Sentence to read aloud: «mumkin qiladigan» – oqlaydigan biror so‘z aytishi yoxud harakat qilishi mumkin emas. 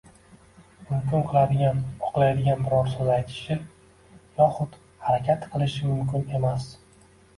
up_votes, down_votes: 1, 2